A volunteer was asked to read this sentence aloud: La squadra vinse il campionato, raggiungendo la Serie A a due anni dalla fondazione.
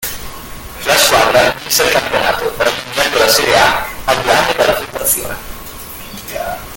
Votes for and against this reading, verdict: 0, 2, rejected